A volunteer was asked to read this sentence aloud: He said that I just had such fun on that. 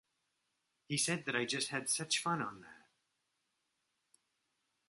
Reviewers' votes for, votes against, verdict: 2, 0, accepted